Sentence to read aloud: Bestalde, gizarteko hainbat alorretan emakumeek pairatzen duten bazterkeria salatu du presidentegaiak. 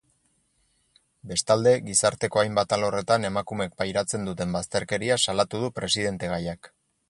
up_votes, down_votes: 4, 0